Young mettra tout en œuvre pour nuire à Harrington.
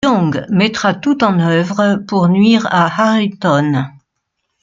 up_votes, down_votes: 1, 2